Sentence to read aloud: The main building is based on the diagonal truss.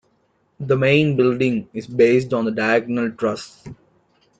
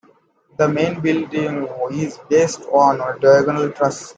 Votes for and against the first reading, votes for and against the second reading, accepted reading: 2, 0, 0, 2, first